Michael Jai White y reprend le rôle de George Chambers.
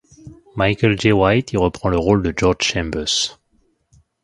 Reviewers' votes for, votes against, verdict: 2, 1, accepted